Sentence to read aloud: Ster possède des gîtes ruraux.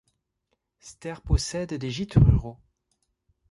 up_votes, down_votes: 2, 0